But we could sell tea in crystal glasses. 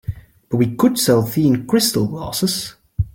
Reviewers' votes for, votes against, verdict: 2, 1, accepted